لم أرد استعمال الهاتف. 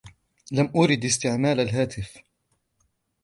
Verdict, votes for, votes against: rejected, 1, 2